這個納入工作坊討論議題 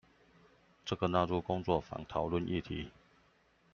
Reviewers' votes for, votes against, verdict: 2, 0, accepted